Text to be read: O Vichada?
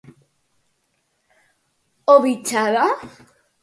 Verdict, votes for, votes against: accepted, 4, 0